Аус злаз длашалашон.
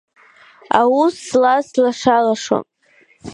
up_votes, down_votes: 2, 0